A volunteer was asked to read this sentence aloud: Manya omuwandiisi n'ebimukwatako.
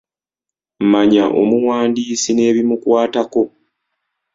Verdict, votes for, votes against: accepted, 2, 0